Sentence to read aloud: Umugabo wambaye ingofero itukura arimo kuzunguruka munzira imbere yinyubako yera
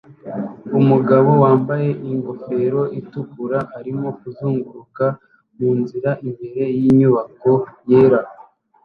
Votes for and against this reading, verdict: 2, 1, accepted